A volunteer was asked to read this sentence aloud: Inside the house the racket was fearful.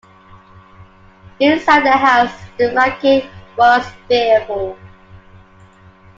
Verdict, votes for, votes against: accepted, 2, 1